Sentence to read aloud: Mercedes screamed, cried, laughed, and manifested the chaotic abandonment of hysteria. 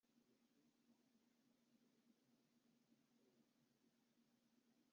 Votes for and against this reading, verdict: 0, 2, rejected